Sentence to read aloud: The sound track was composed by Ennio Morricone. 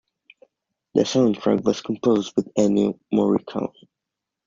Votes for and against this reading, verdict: 0, 2, rejected